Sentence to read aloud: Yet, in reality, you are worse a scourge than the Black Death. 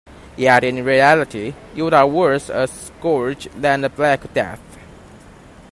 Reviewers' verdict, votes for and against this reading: accepted, 2, 1